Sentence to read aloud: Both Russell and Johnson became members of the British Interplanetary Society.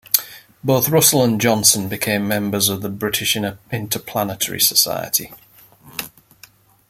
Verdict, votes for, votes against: rejected, 1, 2